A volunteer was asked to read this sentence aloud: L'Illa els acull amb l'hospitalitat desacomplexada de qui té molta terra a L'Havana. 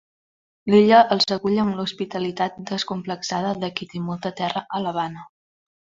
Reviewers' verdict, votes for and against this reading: accepted, 2, 1